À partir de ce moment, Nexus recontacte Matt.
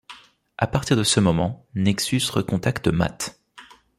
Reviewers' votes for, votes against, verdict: 2, 0, accepted